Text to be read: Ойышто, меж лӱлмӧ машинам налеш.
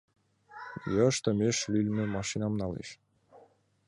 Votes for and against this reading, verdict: 0, 2, rejected